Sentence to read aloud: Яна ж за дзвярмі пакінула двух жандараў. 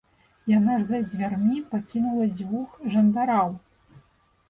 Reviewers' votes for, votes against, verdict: 0, 2, rejected